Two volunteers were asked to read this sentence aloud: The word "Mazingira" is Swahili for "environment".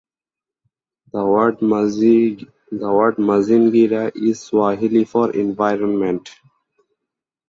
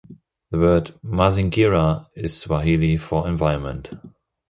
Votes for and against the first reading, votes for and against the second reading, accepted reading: 0, 4, 2, 0, second